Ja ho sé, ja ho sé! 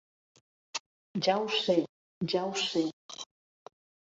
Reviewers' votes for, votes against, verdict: 3, 0, accepted